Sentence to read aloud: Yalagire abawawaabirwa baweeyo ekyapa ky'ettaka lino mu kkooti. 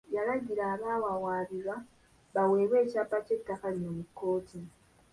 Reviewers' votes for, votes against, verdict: 0, 2, rejected